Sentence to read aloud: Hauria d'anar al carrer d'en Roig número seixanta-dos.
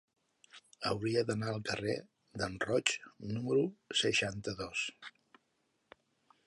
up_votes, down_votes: 0, 2